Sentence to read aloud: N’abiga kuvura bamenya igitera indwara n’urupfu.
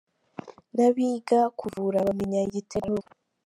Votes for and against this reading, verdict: 0, 2, rejected